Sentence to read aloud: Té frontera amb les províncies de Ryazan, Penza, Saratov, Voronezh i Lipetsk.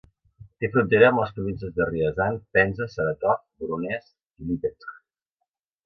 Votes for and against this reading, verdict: 1, 2, rejected